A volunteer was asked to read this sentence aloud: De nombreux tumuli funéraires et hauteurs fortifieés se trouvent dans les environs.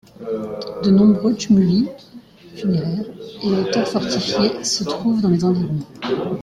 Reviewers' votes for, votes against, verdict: 1, 2, rejected